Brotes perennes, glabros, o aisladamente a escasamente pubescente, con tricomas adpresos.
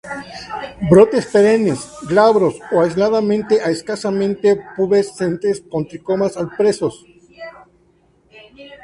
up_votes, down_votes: 0, 4